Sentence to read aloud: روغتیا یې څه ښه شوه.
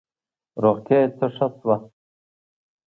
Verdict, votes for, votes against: accepted, 2, 0